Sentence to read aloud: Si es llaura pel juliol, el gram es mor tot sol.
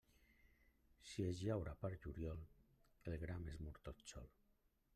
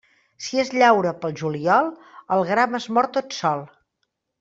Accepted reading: second